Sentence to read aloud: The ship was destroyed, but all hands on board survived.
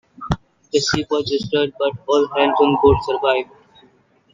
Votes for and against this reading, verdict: 2, 0, accepted